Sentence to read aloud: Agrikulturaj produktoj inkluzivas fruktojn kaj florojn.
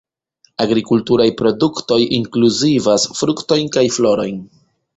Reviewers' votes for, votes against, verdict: 1, 2, rejected